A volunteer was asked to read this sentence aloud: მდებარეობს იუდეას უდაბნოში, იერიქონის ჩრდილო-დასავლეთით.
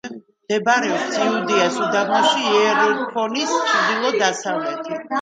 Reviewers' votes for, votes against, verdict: 1, 2, rejected